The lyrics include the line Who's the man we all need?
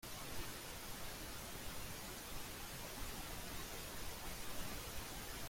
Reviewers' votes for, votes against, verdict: 0, 2, rejected